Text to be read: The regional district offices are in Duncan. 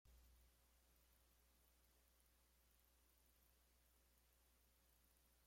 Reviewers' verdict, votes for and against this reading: rejected, 0, 2